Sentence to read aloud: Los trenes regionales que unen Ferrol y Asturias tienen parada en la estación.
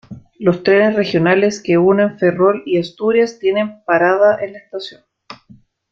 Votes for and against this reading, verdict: 0, 2, rejected